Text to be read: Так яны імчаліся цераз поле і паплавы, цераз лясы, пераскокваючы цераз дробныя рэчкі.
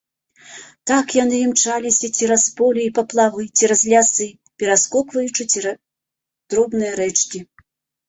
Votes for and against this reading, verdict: 1, 2, rejected